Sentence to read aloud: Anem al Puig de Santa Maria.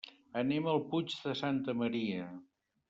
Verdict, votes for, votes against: accepted, 3, 0